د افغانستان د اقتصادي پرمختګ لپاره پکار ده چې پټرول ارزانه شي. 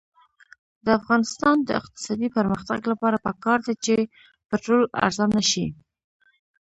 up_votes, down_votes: 1, 2